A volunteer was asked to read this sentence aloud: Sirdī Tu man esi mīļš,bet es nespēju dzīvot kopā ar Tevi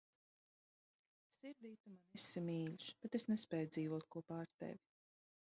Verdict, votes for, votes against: rejected, 1, 2